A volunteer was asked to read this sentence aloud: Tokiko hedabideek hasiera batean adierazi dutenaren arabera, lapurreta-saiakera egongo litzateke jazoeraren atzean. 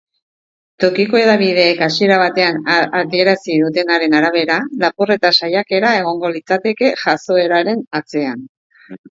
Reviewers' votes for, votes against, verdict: 1, 2, rejected